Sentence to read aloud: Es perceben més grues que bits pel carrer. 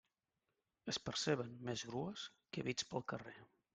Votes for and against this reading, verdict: 2, 0, accepted